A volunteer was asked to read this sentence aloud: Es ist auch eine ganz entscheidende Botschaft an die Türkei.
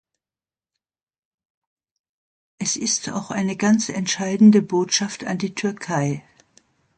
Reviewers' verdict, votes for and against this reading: accepted, 2, 0